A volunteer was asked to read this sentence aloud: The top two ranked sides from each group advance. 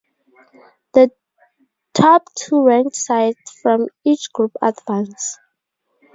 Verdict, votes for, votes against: accepted, 4, 0